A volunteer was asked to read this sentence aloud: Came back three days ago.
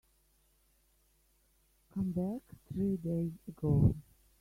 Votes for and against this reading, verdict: 0, 2, rejected